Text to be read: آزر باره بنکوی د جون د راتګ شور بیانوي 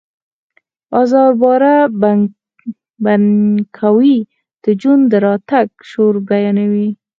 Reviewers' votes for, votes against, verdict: 4, 2, accepted